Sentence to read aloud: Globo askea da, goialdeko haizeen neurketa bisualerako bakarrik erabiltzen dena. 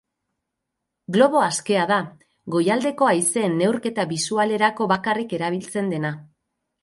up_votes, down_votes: 4, 0